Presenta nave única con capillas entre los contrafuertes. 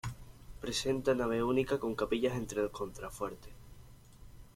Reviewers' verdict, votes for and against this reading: accepted, 2, 0